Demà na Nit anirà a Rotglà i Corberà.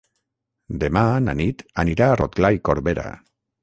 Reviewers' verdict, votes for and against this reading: rejected, 3, 6